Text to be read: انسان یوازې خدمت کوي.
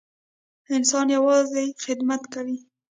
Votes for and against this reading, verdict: 1, 2, rejected